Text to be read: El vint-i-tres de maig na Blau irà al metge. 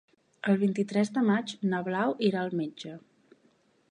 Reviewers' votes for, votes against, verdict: 4, 0, accepted